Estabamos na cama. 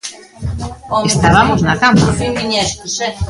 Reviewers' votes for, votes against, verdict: 1, 2, rejected